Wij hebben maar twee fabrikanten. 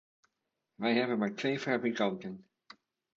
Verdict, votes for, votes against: accepted, 2, 0